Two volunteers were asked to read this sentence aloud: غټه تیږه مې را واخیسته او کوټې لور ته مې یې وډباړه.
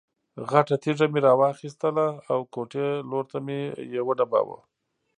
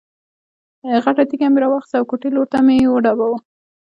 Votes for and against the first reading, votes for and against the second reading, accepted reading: 2, 1, 1, 2, first